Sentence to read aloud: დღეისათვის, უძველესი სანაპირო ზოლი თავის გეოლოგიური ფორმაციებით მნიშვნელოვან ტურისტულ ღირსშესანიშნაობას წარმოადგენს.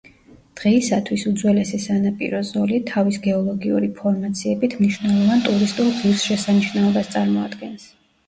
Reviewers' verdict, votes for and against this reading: accepted, 2, 0